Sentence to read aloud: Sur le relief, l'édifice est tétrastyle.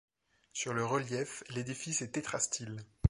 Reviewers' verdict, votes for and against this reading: accepted, 3, 0